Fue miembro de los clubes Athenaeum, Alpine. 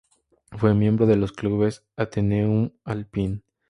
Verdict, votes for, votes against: accepted, 4, 0